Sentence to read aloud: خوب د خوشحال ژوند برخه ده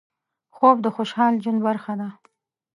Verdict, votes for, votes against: rejected, 1, 2